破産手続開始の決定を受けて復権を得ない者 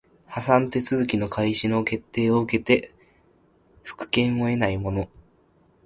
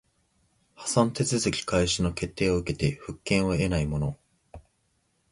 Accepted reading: second